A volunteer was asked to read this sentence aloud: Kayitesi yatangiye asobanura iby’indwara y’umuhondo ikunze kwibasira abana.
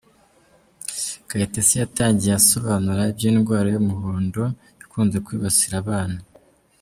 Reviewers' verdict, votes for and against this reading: accepted, 2, 0